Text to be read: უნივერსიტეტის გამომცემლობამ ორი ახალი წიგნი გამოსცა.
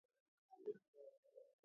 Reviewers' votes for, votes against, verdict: 0, 2, rejected